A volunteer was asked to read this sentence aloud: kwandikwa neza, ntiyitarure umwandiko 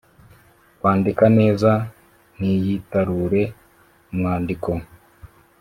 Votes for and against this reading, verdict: 1, 2, rejected